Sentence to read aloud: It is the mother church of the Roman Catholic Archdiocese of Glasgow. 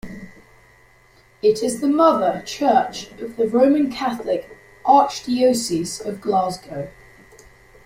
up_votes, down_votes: 0, 2